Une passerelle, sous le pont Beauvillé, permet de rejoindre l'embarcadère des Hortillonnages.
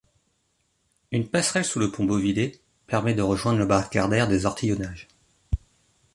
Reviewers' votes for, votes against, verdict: 1, 2, rejected